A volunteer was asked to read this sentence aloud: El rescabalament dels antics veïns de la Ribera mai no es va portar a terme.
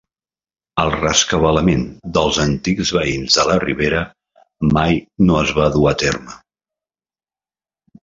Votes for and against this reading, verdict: 0, 2, rejected